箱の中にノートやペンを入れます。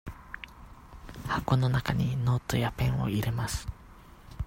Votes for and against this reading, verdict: 1, 2, rejected